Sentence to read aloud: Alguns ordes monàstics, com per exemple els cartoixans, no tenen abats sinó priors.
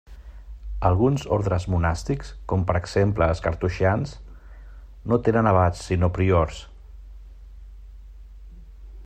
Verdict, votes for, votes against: rejected, 1, 2